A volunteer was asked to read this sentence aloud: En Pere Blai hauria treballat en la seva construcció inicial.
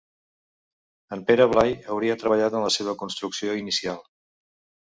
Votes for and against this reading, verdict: 2, 0, accepted